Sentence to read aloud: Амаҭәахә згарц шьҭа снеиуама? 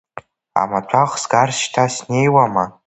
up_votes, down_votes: 0, 2